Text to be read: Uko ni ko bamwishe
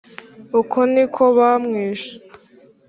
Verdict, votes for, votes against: accepted, 3, 0